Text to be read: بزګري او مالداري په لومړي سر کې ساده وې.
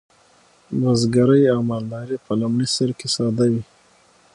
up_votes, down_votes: 6, 0